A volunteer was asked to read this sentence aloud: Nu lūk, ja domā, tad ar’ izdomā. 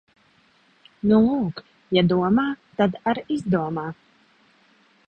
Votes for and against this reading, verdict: 2, 0, accepted